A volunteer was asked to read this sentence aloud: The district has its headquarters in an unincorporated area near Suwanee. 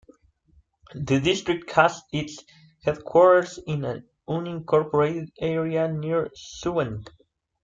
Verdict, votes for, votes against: accepted, 2, 1